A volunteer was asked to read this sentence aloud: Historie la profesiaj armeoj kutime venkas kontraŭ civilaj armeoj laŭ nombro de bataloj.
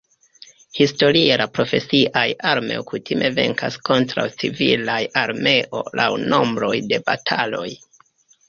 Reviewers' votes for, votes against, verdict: 2, 0, accepted